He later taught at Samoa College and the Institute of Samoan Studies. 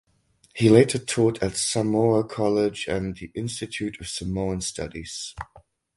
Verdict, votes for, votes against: accepted, 4, 0